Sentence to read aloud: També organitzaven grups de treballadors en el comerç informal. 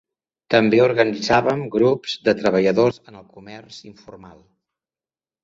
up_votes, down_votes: 2, 0